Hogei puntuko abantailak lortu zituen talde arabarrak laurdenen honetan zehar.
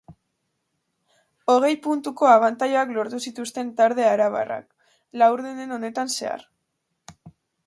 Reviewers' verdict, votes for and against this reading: rejected, 0, 2